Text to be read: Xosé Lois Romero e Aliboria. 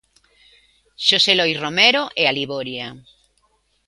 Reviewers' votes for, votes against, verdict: 2, 0, accepted